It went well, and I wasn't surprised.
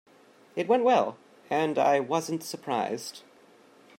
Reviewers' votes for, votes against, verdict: 2, 0, accepted